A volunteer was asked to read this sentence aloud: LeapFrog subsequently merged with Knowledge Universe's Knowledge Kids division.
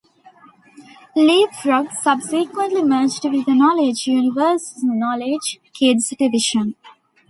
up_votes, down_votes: 2, 0